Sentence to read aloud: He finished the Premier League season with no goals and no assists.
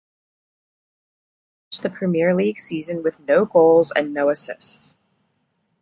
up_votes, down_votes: 0, 2